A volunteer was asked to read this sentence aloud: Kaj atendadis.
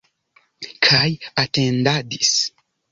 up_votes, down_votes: 2, 0